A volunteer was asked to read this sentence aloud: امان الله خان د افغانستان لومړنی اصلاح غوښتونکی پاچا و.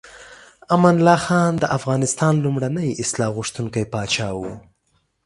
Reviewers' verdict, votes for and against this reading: accepted, 2, 0